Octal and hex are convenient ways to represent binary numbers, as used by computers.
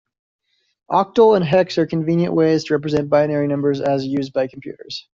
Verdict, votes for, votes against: accepted, 2, 0